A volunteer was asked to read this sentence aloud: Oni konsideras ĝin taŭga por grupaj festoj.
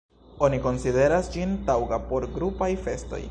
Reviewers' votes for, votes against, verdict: 2, 1, accepted